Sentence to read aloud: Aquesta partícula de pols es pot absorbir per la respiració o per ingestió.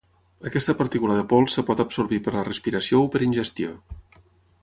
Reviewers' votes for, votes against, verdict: 3, 6, rejected